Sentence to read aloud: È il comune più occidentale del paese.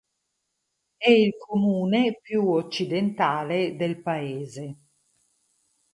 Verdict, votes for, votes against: accepted, 4, 0